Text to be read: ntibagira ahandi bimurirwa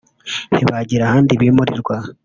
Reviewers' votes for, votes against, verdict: 3, 0, accepted